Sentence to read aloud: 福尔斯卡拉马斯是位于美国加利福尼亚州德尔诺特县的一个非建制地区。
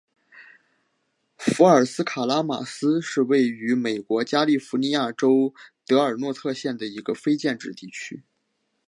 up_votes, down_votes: 2, 0